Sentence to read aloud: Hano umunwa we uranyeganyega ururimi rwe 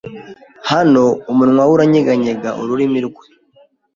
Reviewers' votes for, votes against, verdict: 2, 0, accepted